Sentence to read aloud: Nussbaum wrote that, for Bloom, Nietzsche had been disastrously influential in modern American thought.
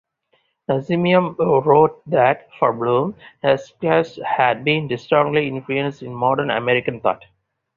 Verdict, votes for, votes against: rejected, 2, 2